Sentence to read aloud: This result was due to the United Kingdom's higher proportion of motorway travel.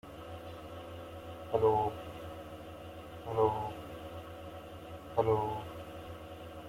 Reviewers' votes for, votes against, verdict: 0, 2, rejected